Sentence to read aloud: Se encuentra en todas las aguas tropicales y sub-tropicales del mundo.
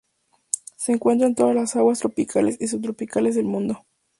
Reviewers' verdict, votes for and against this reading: accepted, 2, 0